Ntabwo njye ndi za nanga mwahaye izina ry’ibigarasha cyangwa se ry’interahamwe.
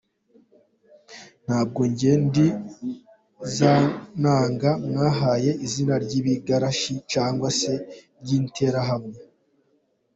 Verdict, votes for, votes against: accepted, 2, 0